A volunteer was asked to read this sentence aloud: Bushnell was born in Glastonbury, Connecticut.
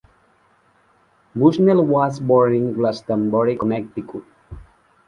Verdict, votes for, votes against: rejected, 1, 2